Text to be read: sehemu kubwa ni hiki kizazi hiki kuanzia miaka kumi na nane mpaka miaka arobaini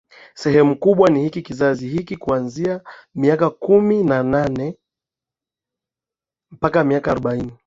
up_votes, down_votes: 7, 1